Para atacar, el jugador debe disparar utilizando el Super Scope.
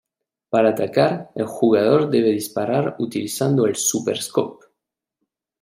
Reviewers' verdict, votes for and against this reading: accepted, 2, 0